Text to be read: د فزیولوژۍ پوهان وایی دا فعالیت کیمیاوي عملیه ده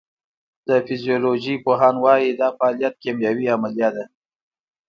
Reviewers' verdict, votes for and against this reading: accepted, 2, 0